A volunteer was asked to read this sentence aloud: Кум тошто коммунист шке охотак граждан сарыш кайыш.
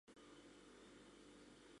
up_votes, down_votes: 0, 2